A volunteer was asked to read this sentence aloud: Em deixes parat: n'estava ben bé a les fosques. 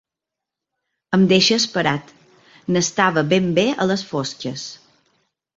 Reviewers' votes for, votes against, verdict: 0, 2, rejected